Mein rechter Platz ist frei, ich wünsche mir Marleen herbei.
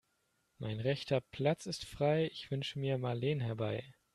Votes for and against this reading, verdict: 2, 0, accepted